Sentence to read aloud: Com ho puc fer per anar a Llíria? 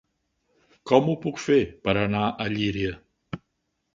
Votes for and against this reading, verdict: 3, 0, accepted